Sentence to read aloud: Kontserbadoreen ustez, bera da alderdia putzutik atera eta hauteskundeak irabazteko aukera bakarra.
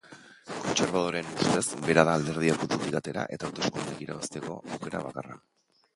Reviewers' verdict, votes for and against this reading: rejected, 1, 2